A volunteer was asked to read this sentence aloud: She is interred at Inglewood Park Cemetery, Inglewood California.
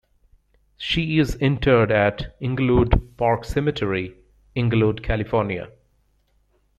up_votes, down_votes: 0, 2